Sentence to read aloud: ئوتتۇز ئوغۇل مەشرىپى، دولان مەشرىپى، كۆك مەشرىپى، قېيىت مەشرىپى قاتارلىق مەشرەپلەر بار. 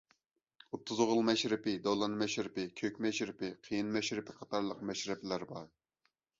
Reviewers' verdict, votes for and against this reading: rejected, 0, 2